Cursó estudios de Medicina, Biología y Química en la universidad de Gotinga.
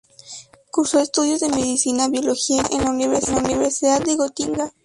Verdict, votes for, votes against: rejected, 0, 2